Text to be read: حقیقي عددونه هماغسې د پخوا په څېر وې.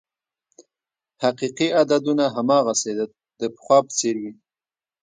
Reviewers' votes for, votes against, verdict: 2, 0, accepted